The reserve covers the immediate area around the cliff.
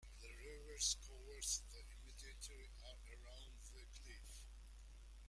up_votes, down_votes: 0, 2